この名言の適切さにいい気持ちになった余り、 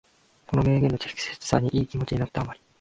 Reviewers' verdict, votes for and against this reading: accepted, 2, 0